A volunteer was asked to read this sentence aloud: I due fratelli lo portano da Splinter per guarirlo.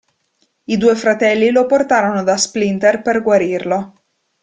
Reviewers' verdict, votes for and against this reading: rejected, 1, 2